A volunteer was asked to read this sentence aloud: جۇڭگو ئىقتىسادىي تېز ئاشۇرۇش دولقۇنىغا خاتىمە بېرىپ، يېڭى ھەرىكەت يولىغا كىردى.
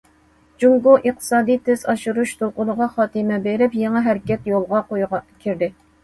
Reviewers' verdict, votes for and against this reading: rejected, 1, 2